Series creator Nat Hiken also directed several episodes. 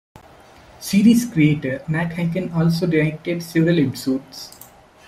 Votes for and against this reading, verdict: 2, 0, accepted